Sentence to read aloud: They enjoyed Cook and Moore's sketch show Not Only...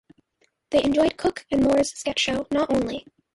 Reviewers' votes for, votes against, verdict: 2, 0, accepted